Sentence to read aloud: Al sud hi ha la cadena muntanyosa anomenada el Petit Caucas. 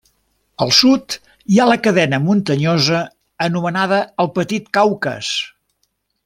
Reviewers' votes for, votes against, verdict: 2, 0, accepted